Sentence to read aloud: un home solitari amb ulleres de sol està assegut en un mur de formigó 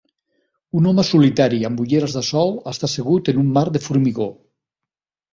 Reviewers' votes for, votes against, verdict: 2, 3, rejected